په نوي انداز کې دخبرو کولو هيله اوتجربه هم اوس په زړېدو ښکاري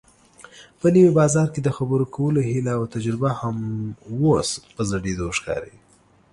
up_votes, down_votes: 1, 2